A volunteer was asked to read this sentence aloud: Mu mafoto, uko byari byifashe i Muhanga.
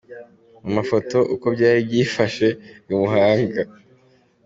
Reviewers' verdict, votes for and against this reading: accepted, 2, 0